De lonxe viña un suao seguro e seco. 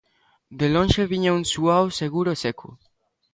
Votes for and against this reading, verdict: 2, 0, accepted